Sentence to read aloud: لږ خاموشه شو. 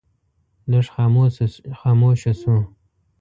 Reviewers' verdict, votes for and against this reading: rejected, 1, 2